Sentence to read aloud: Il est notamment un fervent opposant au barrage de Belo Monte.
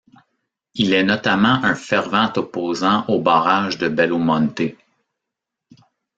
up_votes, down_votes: 2, 0